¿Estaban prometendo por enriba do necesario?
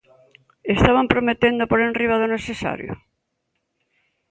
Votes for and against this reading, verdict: 2, 0, accepted